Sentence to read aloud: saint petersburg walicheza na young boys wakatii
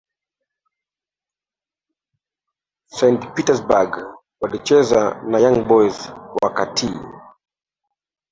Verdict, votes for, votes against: rejected, 1, 2